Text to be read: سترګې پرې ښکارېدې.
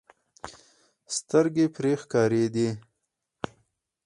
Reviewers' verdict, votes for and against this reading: accepted, 4, 2